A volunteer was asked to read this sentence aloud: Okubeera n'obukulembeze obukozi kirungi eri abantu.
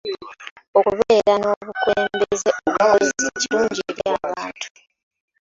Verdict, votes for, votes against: accepted, 2, 1